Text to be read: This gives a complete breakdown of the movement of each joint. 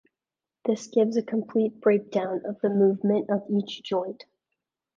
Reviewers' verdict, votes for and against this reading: accepted, 2, 0